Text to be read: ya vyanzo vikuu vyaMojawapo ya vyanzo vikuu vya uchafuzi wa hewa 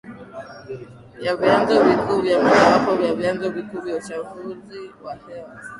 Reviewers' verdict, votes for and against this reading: rejected, 0, 2